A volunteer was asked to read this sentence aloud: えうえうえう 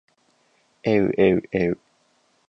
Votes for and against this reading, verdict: 4, 0, accepted